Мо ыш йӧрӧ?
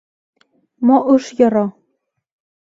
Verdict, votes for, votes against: rejected, 0, 2